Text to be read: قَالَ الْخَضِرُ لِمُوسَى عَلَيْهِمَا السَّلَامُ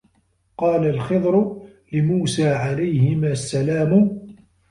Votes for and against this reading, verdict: 1, 2, rejected